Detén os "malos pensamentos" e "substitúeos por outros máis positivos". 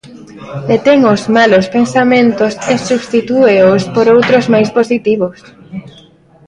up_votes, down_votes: 2, 1